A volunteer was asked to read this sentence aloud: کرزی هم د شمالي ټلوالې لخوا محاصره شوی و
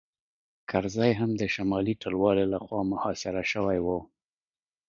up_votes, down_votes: 2, 0